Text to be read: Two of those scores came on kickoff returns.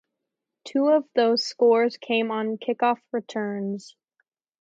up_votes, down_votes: 4, 0